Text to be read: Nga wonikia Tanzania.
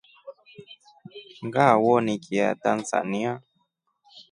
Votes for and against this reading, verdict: 5, 0, accepted